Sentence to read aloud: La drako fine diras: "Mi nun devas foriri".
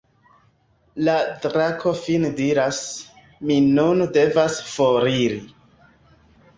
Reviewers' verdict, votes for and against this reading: accepted, 2, 0